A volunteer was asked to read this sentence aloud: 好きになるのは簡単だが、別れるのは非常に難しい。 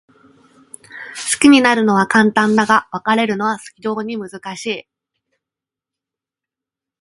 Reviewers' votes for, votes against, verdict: 2, 0, accepted